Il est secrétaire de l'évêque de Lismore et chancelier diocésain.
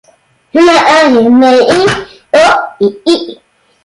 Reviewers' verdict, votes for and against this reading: rejected, 0, 2